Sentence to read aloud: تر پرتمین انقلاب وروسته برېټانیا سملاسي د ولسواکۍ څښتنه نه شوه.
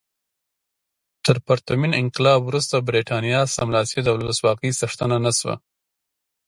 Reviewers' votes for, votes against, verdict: 2, 1, accepted